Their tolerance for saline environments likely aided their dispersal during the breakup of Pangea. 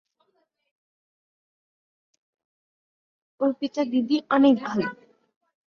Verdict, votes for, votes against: rejected, 0, 2